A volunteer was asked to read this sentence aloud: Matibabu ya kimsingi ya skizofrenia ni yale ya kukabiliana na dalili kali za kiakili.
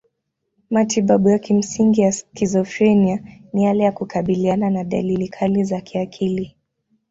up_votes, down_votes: 2, 0